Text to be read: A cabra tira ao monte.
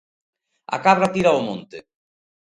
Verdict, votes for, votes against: accepted, 2, 0